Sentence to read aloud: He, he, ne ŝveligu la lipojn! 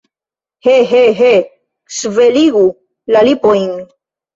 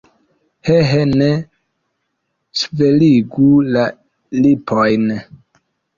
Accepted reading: second